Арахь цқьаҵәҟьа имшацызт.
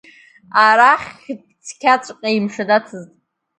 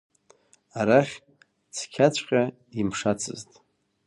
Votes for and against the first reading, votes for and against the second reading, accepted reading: 0, 2, 2, 0, second